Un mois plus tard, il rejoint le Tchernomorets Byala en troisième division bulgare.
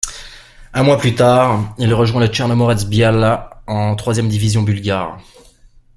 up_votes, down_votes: 2, 0